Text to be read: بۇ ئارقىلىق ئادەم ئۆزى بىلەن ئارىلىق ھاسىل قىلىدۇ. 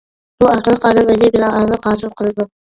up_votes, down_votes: 0, 2